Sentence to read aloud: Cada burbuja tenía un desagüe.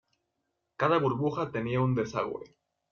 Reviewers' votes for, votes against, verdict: 2, 0, accepted